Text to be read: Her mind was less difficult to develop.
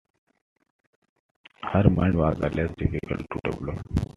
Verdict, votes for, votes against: accepted, 2, 1